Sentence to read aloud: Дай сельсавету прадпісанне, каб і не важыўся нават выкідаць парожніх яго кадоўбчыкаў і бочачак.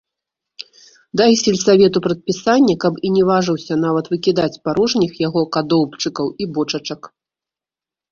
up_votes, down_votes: 1, 2